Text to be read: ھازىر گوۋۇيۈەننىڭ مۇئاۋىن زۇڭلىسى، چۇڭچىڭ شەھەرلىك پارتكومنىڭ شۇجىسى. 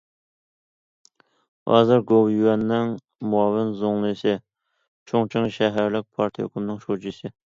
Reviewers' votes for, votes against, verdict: 2, 0, accepted